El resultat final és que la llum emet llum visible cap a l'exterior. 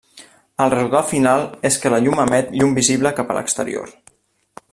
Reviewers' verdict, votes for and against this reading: rejected, 1, 2